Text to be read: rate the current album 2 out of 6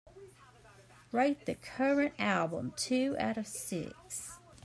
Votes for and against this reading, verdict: 0, 2, rejected